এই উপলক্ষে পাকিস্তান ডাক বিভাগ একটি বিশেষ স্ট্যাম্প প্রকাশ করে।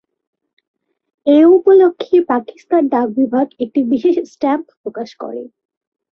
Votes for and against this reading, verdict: 2, 0, accepted